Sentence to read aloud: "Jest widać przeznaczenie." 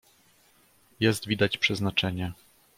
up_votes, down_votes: 2, 0